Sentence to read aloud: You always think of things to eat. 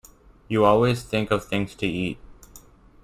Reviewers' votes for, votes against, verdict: 1, 2, rejected